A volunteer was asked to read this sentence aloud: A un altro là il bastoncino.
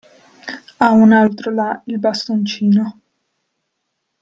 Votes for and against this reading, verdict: 2, 0, accepted